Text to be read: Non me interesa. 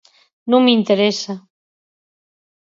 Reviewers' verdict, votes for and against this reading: accepted, 18, 0